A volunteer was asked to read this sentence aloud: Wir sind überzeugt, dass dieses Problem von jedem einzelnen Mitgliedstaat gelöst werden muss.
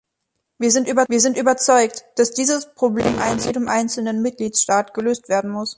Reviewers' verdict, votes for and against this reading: rejected, 0, 3